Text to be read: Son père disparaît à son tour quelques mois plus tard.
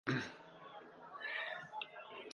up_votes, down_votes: 0, 4